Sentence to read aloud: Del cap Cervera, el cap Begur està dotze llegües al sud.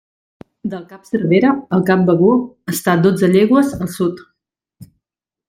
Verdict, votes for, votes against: accepted, 3, 0